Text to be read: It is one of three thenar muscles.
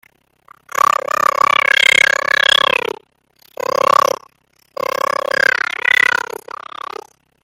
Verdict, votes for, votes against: rejected, 0, 2